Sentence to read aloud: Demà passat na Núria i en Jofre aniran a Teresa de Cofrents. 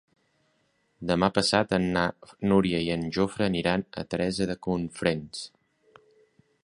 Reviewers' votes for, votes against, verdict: 0, 3, rejected